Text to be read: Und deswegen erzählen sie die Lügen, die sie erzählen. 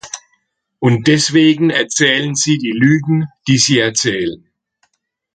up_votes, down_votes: 2, 0